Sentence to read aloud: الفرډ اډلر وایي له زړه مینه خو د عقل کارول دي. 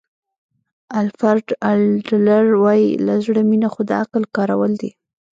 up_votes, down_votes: 1, 2